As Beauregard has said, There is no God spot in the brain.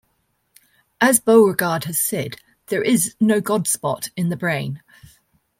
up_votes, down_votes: 2, 0